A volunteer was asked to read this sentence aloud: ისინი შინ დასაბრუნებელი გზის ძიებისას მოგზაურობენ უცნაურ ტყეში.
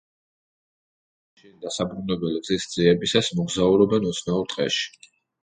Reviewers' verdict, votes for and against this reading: rejected, 0, 2